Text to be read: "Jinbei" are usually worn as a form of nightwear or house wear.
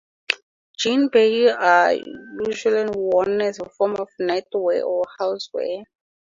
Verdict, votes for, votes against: accepted, 4, 0